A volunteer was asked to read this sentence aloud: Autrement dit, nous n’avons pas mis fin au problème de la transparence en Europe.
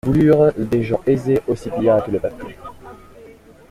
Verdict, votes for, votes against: rejected, 0, 2